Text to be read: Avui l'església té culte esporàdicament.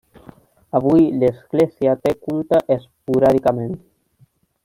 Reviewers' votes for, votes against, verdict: 2, 1, accepted